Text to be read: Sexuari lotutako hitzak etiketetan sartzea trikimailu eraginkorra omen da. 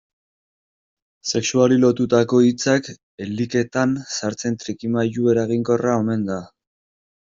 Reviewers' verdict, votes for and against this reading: rejected, 0, 2